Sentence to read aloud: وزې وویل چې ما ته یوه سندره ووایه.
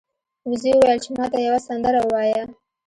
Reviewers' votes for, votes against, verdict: 2, 0, accepted